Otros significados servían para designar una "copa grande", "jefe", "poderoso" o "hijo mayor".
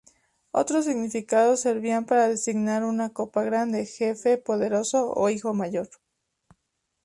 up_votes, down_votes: 2, 0